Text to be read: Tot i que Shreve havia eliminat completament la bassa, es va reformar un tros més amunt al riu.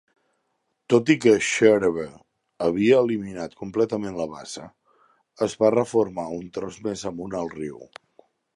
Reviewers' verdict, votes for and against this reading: rejected, 0, 2